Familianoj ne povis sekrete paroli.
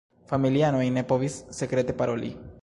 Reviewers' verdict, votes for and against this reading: rejected, 1, 2